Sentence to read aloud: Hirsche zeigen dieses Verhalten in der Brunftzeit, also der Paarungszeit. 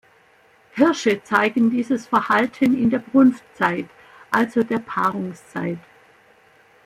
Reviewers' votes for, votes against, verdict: 2, 0, accepted